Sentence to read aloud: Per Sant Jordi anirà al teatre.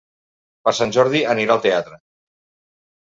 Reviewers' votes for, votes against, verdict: 3, 0, accepted